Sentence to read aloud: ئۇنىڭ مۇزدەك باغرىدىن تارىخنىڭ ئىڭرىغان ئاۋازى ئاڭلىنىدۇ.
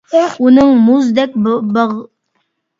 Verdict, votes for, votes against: rejected, 0, 2